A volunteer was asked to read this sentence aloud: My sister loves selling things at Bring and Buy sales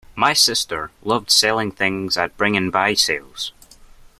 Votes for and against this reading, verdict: 2, 1, accepted